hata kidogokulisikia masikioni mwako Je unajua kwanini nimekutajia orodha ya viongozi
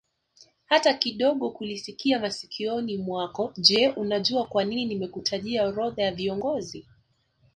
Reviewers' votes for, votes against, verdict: 1, 2, rejected